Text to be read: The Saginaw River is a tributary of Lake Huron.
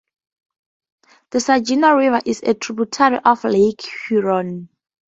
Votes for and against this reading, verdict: 2, 0, accepted